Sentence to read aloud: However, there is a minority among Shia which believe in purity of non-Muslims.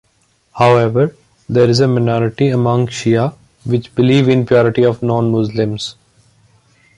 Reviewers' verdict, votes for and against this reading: accepted, 2, 1